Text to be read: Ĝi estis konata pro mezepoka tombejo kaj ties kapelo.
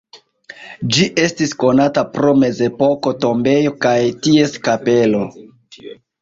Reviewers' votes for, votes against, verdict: 2, 0, accepted